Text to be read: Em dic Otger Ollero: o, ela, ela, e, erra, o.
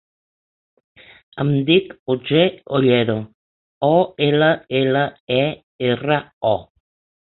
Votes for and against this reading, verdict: 4, 0, accepted